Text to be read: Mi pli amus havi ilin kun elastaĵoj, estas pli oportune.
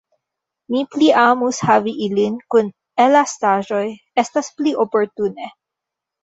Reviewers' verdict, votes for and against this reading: rejected, 0, 2